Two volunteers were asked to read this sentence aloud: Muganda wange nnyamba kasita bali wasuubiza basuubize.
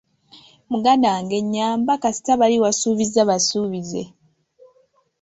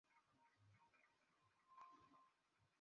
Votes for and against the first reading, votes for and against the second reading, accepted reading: 2, 1, 0, 2, first